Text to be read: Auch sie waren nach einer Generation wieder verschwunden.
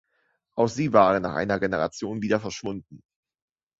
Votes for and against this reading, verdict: 2, 0, accepted